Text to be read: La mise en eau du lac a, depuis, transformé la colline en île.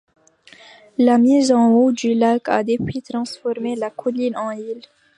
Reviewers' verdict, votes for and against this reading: rejected, 0, 2